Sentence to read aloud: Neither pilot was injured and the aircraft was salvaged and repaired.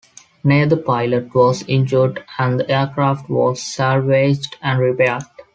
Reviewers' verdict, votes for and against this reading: accepted, 2, 1